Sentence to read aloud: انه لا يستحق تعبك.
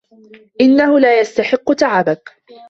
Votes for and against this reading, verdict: 2, 0, accepted